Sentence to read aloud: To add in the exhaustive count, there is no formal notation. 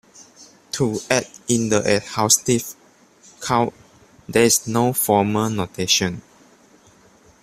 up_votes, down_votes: 0, 2